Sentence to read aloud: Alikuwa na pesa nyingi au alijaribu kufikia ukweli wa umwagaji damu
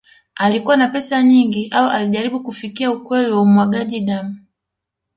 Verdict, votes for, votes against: accepted, 2, 0